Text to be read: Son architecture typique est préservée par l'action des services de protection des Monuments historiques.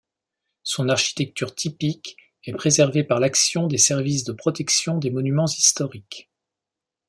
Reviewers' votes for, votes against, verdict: 2, 0, accepted